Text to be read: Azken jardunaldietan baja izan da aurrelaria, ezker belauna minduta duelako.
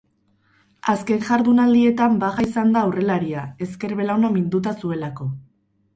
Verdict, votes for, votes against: rejected, 2, 2